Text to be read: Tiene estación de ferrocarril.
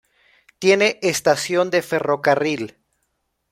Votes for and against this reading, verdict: 2, 0, accepted